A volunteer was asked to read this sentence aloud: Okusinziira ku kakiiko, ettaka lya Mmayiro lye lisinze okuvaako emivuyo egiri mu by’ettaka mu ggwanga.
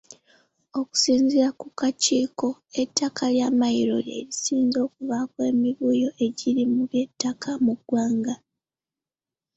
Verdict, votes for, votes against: accepted, 2, 0